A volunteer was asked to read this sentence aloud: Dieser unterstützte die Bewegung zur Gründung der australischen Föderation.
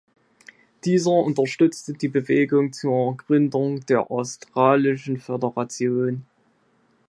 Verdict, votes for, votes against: accepted, 2, 0